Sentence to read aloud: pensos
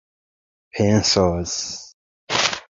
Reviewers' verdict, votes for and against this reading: accepted, 2, 0